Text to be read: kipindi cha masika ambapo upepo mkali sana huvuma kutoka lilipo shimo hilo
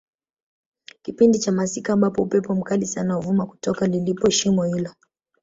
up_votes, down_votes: 2, 0